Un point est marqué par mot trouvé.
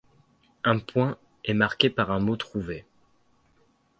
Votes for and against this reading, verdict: 1, 2, rejected